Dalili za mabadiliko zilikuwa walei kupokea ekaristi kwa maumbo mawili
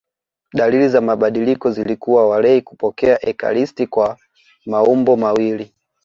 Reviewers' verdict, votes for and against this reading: accepted, 2, 0